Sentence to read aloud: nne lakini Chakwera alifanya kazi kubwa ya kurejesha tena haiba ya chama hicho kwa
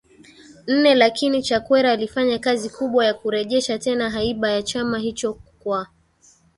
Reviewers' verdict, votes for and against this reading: accepted, 2, 0